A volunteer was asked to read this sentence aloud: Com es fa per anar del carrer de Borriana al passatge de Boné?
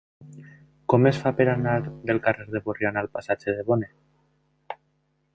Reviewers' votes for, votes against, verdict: 0, 2, rejected